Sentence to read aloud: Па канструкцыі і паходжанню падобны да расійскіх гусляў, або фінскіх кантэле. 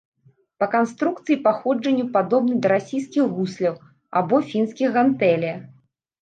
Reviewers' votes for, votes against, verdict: 0, 2, rejected